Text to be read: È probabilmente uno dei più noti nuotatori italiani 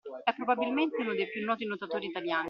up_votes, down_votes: 2, 1